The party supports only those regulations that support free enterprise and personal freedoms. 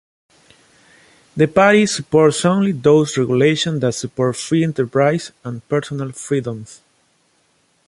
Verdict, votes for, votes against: rejected, 1, 2